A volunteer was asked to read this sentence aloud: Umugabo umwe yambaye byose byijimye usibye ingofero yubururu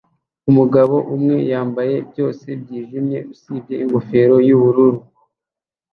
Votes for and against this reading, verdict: 2, 0, accepted